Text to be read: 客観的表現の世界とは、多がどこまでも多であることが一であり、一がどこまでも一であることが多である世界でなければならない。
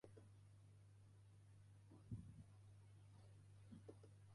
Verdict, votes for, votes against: accepted, 2, 1